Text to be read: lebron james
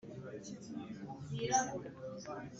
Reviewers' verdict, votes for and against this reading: rejected, 1, 3